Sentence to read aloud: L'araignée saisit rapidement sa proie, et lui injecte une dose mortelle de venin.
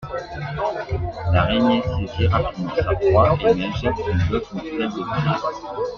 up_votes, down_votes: 2, 1